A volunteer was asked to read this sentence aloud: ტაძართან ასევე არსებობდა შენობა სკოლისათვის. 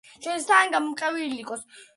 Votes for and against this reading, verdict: 0, 2, rejected